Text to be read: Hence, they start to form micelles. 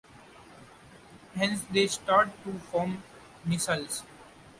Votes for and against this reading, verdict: 0, 2, rejected